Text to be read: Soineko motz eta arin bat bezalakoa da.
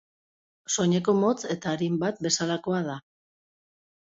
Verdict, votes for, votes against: accepted, 2, 0